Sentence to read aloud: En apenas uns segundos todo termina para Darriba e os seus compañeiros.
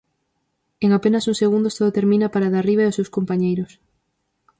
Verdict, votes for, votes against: rejected, 2, 2